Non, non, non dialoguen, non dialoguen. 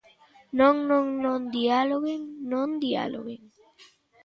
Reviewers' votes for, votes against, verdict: 0, 3, rejected